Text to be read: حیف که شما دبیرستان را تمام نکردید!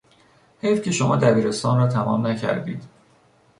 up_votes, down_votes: 2, 0